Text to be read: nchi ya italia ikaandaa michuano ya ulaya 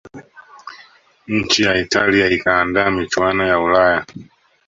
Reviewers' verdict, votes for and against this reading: rejected, 0, 2